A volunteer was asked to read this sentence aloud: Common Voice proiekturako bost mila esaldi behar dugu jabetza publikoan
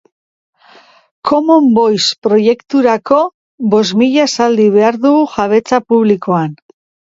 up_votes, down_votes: 3, 0